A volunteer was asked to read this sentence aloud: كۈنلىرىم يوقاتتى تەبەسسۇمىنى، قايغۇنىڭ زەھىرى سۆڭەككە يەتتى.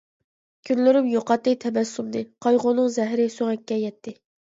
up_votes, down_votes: 2, 0